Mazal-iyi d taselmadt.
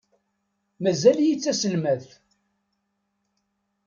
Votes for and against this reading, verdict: 2, 0, accepted